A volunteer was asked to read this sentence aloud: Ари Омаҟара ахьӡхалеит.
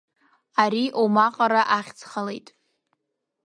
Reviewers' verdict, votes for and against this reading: accepted, 2, 0